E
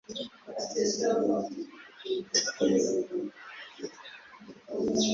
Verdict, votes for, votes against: rejected, 0, 2